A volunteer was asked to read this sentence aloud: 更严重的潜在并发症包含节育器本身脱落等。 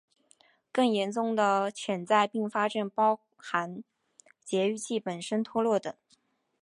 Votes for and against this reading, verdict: 2, 0, accepted